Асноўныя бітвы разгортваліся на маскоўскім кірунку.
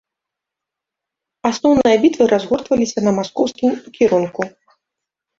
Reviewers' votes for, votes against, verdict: 2, 0, accepted